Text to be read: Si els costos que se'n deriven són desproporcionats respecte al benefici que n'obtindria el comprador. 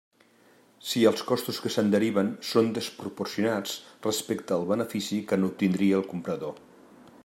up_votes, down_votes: 2, 0